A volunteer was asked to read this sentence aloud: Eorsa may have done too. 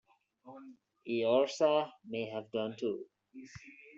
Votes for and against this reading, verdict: 0, 2, rejected